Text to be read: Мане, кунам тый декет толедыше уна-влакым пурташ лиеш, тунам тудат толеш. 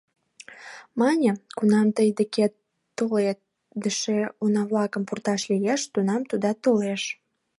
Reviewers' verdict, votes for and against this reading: rejected, 0, 3